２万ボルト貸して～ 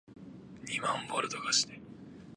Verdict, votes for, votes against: rejected, 0, 2